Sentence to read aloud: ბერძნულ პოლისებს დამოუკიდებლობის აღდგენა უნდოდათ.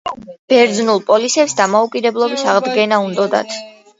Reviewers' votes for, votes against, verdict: 1, 2, rejected